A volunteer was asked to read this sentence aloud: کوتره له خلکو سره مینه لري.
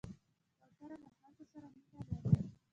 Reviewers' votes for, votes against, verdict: 1, 2, rejected